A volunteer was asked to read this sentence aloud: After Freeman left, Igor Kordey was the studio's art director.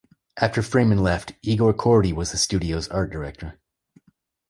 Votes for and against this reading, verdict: 2, 0, accepted